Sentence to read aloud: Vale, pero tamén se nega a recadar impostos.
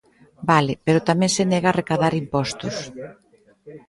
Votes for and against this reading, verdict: 1, 2, rejected